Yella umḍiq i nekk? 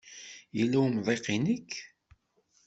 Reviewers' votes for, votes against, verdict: 2, 0, accepted